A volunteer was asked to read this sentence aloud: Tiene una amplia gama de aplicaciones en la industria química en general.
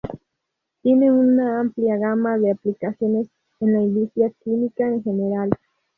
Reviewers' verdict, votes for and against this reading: rejected, 2, 2